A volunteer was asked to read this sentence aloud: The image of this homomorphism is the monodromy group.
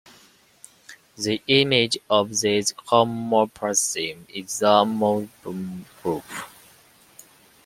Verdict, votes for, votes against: rejected, 0, 2